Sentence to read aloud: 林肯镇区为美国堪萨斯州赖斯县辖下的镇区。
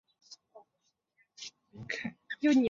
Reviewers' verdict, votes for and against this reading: rejected, 0, 2